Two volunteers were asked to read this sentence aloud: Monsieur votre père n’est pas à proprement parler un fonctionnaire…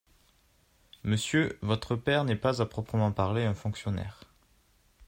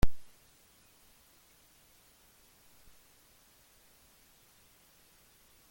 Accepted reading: first